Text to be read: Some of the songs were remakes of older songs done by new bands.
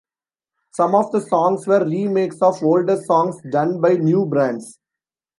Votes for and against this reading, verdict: 0, 2, rejected